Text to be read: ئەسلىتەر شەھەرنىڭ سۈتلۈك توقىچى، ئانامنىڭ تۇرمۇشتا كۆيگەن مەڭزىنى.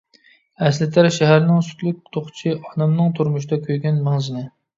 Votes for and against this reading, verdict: 2, 0, accepted